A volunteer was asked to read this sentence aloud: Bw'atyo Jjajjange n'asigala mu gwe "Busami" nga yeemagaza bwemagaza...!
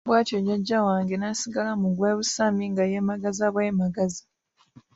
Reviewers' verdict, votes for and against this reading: rejected, 0, 2